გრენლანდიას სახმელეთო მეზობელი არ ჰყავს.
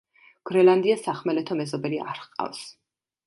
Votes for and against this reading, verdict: 2, 0, accepted